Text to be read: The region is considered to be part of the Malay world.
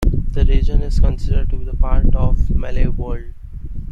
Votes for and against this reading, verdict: 2, 1, accepted